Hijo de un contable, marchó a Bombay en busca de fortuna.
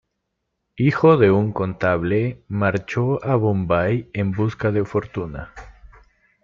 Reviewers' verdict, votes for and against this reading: rejected, 1, 2